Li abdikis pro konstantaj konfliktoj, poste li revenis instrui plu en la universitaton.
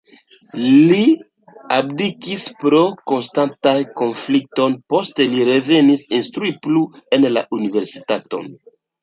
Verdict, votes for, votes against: accepted, 2, 1